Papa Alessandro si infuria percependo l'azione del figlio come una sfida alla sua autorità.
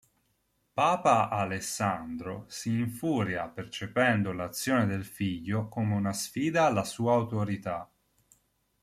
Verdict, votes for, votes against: accepted, 2, 0